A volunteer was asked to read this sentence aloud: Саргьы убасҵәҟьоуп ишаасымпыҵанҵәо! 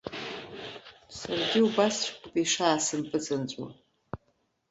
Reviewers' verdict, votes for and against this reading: rejected, 0, 2